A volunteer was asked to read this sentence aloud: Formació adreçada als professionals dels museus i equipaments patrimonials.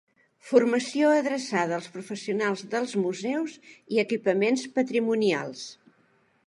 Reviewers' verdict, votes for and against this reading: accepted, 3, 0